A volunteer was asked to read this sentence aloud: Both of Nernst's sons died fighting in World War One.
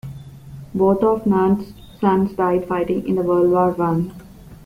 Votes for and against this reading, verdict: 1, 2, rejected